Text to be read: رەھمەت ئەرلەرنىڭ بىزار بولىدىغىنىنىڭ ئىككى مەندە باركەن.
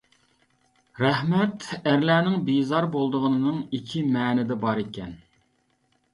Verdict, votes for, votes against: rejected, 0, 2